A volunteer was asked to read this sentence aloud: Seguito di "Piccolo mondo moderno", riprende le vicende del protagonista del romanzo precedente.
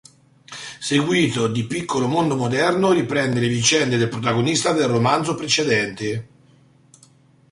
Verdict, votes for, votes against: rejected, 0, 2